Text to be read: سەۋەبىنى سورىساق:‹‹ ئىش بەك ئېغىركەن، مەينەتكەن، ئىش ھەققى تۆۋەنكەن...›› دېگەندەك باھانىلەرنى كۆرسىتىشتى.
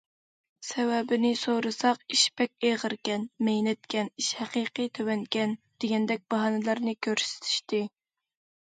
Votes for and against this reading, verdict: 1, 2, rejected